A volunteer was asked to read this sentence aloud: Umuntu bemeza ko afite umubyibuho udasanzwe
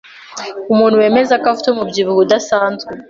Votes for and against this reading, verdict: 2, 0, accepted